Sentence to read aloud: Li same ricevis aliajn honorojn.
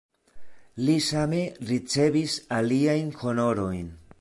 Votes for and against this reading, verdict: 2, 1, accepted